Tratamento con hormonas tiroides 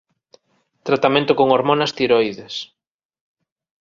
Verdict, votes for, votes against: accepted, 2, 0